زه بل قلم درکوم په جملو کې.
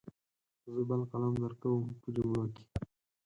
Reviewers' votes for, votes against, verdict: 4, 2, accepted